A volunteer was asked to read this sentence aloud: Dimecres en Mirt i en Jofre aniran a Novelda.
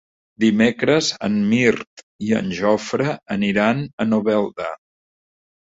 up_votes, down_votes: 3, 0